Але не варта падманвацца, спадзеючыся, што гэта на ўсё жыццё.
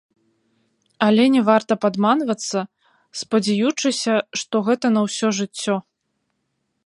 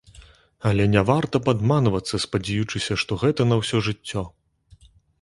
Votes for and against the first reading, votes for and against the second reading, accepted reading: 1, 2, 2, 0, second